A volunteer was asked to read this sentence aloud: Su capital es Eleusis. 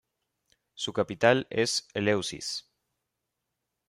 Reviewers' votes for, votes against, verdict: 3, 0, accepted